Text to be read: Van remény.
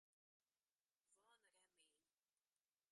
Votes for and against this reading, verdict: 0, 2, rejected